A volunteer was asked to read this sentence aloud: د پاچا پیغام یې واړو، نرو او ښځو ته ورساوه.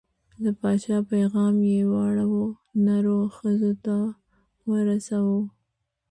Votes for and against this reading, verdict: 2, 0, accepted